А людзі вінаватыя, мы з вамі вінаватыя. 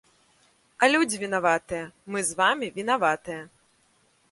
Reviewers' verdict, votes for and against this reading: accepted, 2, 0